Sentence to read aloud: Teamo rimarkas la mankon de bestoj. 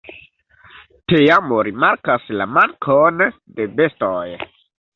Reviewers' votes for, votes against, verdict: 0, 2, rejected